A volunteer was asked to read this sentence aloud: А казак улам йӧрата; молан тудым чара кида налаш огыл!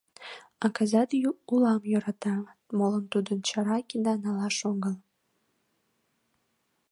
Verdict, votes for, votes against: rejected, 0, 2